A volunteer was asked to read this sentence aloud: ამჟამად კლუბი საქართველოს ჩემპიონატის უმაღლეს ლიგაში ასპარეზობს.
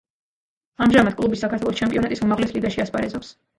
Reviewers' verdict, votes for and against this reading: rejected, 1, 2